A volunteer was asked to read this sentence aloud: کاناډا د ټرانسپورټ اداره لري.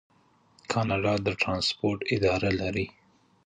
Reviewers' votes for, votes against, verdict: 0, 2, rejected